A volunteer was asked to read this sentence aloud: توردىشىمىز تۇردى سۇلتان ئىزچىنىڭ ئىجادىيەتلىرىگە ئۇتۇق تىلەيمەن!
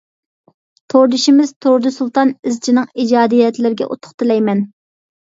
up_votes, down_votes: 2, 0